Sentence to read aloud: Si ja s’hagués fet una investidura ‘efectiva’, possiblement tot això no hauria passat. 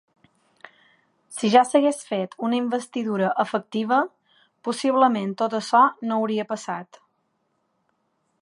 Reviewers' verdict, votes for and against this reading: accepted, 2, 0